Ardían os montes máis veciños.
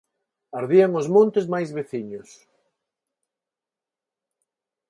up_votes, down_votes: 4, 0